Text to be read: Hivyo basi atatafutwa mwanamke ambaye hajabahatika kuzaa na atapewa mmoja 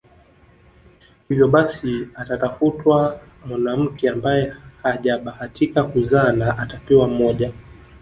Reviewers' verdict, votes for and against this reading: accepted, 2, 1